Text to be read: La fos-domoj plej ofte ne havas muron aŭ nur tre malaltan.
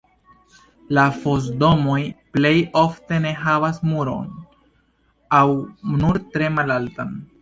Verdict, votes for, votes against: accepted, 2, 0